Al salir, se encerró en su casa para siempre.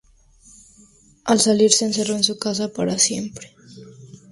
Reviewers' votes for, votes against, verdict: 0, 2, rejected